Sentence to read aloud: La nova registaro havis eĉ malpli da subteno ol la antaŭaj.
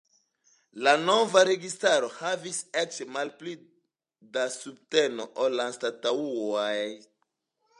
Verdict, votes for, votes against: accepted, 2, 0